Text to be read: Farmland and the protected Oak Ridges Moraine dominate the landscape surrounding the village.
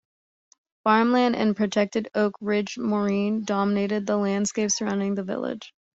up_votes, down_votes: 2, 1